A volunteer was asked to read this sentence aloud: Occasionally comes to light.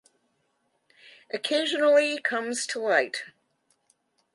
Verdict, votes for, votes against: accepted, 2, 0